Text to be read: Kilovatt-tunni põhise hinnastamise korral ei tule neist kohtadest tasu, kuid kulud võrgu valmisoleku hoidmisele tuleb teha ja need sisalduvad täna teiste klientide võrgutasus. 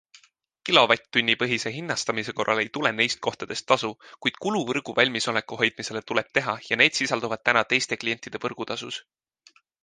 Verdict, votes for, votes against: accepted, 2, 0